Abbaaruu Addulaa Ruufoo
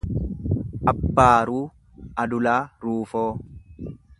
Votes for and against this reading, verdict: 1, 2, rejected